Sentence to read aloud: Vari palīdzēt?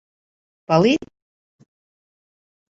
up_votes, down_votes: 0, 2